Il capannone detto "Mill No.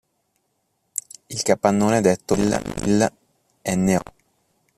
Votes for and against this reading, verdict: 0, 2, rejected